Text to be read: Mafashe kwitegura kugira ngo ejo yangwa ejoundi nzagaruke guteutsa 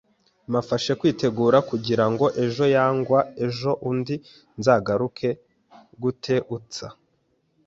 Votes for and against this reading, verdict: 2, 0, accepted